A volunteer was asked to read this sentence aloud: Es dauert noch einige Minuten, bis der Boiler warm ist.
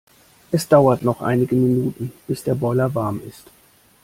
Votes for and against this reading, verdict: 2, 0, accepted